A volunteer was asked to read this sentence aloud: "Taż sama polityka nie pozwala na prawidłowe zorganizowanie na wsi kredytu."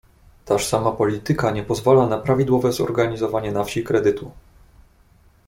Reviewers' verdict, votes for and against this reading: accepted, 2, 0